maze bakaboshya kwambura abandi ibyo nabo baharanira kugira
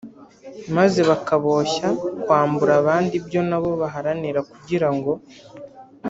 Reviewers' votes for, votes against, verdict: 0, 2, rejected